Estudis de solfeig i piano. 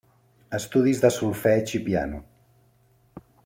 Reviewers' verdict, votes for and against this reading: accepted, 2, 0